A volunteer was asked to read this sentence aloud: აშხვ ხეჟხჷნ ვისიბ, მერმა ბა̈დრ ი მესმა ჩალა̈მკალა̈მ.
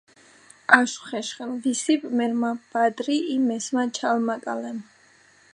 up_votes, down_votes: 0, 2